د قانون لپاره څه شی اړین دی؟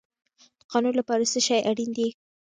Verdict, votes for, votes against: accepted, 2, 0